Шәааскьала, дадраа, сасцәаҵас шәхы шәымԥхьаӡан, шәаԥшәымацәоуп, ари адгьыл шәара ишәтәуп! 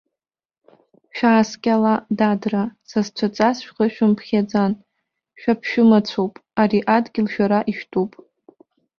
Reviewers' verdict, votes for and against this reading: accepted, 2, 0